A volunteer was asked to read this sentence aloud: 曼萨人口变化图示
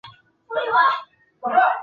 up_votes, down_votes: 0, 2